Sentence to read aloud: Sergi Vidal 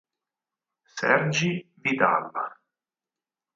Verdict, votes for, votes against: rejected, 2, 4